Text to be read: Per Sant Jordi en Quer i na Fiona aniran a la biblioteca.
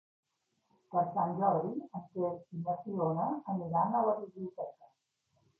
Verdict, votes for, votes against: rejected, 2, 3